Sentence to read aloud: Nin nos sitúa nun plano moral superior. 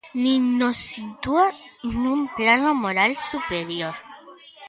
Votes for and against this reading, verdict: 2, 1, accepted